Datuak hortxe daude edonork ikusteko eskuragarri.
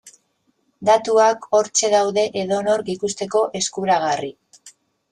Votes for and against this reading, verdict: 3, 0, accepted